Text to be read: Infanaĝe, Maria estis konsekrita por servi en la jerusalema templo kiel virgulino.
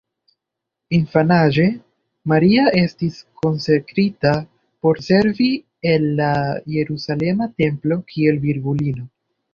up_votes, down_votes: 2, 0